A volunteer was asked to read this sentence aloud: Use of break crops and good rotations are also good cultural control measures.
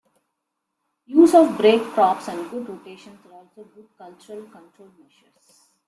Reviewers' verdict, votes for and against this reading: rejected, 0, 2